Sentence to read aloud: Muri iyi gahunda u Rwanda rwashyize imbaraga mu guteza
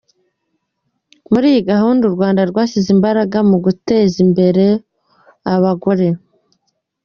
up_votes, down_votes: 2, 0